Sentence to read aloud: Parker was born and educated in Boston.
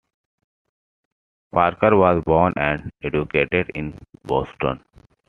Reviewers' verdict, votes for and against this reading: accepted, 2, 0